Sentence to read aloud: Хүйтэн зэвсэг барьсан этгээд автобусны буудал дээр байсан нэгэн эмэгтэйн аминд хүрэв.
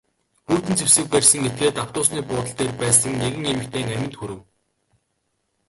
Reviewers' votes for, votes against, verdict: 0, 2, rejected